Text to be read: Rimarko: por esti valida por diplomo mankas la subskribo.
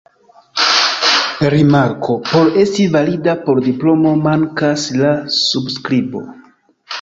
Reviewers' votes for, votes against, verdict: 2, 0, accepted